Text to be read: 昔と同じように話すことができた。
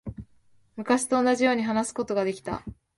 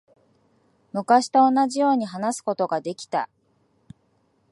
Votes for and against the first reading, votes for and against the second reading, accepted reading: 2, 0, 1, 2, first